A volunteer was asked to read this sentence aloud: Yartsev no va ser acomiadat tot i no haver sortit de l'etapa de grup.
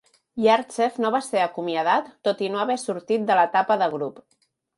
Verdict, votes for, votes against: accepted, 2, 0